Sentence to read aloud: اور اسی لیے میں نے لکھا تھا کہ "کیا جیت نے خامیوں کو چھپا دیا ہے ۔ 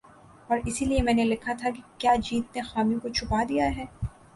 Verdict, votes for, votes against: accepted, 3, 0